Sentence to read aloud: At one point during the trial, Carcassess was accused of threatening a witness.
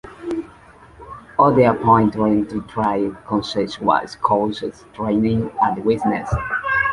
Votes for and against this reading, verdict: 0, 2, rejected